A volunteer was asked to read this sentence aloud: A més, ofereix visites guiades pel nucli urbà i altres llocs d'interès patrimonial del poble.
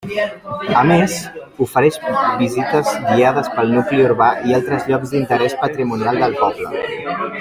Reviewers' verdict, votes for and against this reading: accepted, 3, 1